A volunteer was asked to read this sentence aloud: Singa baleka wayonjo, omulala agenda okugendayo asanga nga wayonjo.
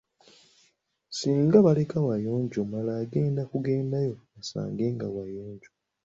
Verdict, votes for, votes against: accepted, 2, 1